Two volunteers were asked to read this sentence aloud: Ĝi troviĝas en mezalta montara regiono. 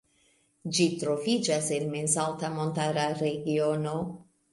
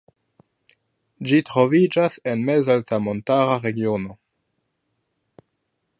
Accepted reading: first